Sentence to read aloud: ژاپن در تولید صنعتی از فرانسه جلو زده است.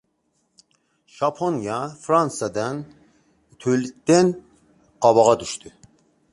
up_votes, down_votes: 0, 2